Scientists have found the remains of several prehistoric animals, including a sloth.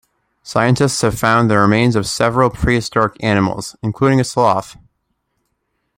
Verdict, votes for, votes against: accepted, 2, 0